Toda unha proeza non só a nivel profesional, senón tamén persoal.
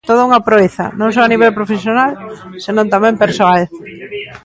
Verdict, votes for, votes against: rejected, 1, 2